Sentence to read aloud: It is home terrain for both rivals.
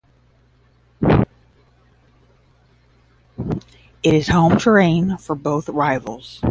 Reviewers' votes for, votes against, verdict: 10, 5, accepted